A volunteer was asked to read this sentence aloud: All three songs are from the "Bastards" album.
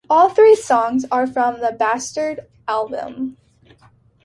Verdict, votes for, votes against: rejected, 0, 2